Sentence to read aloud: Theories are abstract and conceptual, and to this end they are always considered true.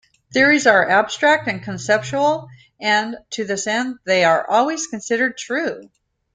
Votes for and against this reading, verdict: 2, 0, accepted